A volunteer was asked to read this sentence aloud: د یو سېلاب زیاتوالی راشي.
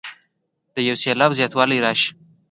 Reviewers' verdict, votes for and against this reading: accepted, 2, 0